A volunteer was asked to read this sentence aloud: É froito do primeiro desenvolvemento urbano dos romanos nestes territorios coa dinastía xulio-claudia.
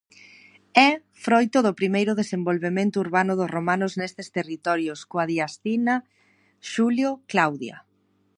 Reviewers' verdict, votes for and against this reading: rejected, 0, 2